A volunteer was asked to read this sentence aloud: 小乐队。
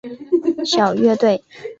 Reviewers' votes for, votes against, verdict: 2, 0, accepted